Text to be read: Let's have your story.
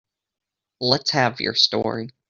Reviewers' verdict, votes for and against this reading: rejected, 1, 2